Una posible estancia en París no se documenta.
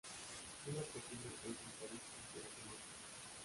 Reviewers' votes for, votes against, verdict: 1, 2, rejected